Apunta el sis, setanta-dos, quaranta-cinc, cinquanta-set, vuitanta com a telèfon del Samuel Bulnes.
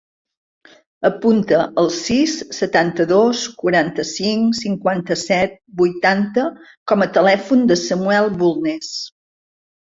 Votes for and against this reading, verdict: 0, 2, rejected